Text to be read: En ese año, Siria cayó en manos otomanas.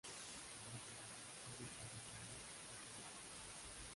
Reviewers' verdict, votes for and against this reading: rejected, 0, 2